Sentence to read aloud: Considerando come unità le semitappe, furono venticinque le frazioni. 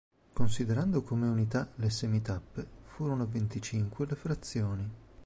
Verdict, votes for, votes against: accepted, 2, 0